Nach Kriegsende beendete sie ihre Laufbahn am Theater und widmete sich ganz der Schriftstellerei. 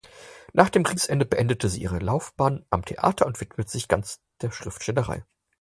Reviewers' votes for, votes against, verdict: 6, 2, accepted